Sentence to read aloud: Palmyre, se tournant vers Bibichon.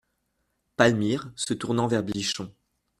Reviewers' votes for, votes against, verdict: 0, 2, rejected